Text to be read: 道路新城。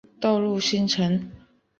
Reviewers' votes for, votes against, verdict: 3, 0, accepted